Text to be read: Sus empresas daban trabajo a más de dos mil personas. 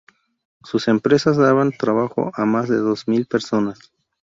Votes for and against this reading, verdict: 2, 0, accepted